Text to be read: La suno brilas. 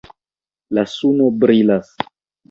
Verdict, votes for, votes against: rejected, 1, 2